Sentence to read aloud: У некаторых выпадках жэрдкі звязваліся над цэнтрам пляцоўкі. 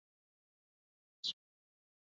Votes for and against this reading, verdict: 0, 2, rejected